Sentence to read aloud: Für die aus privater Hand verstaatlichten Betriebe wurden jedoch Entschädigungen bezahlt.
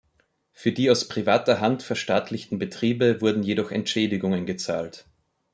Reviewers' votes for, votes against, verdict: 0, 2, rejected